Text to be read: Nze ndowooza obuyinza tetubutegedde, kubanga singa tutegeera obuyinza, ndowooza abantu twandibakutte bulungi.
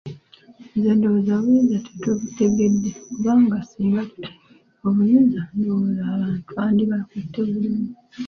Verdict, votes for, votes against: rejected, 0, 3